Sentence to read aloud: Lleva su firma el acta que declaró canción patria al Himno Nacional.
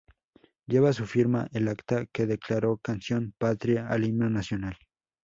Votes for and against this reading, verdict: 2, 0, accepted